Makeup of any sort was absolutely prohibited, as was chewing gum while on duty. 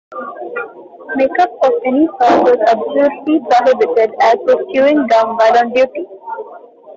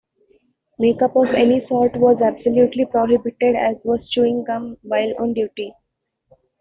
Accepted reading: second